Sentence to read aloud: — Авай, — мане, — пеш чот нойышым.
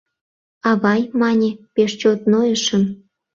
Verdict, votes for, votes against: accepted, 2, 0